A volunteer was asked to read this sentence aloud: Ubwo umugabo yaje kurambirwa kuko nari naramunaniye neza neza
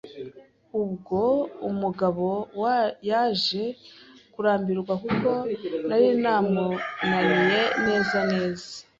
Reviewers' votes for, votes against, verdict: 0, 2, rejected